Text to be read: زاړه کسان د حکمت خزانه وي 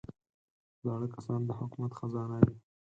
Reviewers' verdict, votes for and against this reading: rejected, 2, 4